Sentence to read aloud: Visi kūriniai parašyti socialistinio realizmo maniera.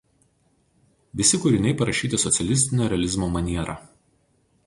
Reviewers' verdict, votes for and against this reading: accepted, 4, 0